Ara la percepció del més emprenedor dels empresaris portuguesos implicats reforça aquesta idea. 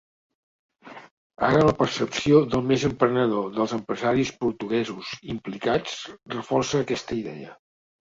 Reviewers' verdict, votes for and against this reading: accepted, 2, 1